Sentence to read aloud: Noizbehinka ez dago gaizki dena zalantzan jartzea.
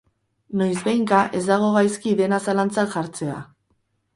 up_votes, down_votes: 2, 2